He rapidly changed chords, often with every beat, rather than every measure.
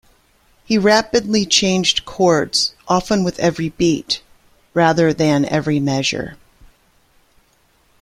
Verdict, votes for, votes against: accepted, 2, 0